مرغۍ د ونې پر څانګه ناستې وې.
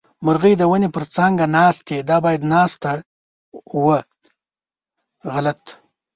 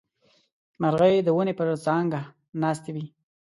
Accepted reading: second